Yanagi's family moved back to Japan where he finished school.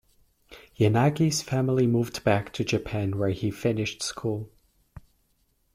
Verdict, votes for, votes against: accepted, 2, 0